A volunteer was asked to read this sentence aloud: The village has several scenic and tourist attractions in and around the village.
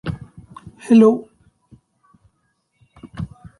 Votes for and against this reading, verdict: 0, 2, rejected